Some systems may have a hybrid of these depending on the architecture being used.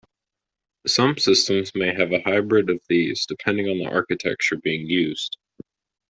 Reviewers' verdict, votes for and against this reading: accepted, 2, 0